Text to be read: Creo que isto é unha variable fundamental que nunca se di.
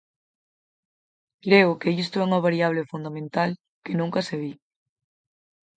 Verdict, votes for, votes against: accepted, 4, 0